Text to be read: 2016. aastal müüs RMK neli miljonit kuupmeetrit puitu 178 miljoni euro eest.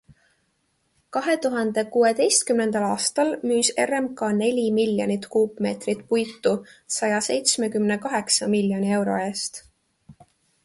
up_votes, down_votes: 0, 2